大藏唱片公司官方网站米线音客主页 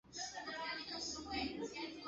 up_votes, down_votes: 0, 2